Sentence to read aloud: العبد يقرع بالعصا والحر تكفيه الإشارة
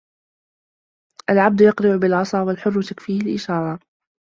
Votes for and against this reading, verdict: 1, 2, rejected